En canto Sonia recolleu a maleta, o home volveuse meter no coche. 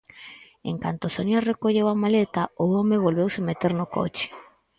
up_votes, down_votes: 4, 0